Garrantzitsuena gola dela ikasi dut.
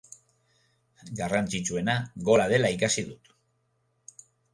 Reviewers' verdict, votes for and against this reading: accepted, 3, 0